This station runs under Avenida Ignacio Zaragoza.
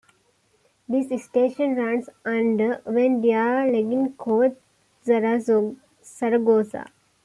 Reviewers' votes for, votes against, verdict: 2, 1, accepted